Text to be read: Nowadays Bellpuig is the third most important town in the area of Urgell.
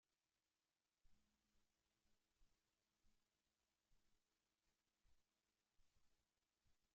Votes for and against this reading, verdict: 0, 2, rejected